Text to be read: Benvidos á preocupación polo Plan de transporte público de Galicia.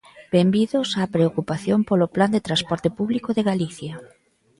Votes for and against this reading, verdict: 2, 0, accepted